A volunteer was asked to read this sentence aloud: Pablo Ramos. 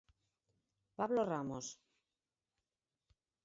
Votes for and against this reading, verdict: 4, 0, accepted